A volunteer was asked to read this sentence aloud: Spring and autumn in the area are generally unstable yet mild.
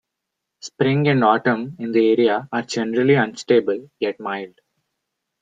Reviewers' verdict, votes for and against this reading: rejected, 0, 2